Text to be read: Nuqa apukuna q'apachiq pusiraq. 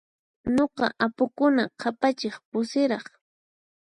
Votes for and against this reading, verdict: 4, 0, accepted